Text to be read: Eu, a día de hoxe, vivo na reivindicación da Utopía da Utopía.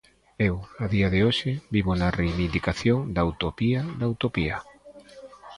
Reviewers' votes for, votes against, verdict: 1, 2, rejected